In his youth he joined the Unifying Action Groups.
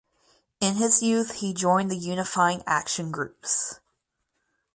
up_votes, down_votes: 4, 0